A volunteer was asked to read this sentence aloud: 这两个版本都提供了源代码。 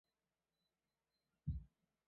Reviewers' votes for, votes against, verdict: 1, 3, rejected